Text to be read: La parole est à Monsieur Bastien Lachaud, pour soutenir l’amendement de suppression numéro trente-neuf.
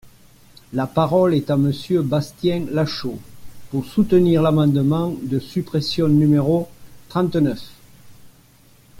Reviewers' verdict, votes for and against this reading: accepted, 2, 0